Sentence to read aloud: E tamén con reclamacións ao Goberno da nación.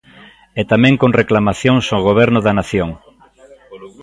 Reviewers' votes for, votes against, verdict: 0, 2, rejected